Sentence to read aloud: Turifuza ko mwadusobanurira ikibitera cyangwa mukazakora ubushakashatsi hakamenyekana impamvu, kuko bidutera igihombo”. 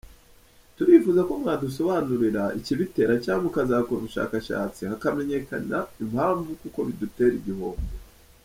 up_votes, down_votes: 1, 2